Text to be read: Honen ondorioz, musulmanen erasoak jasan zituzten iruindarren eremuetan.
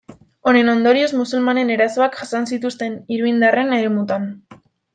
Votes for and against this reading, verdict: 0, 2, rejected